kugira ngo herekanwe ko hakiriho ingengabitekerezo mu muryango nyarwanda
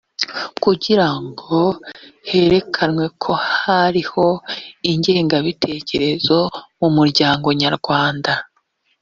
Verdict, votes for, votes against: rejected, 1, 2